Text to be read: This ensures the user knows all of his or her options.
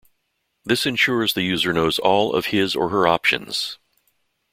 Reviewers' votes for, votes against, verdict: 2, 0, accepted